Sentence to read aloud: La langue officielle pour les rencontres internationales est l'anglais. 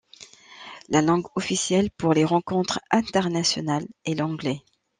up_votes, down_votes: 2, 0